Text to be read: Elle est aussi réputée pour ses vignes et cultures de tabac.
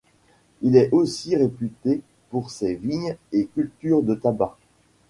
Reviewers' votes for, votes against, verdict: 1, 2, rejected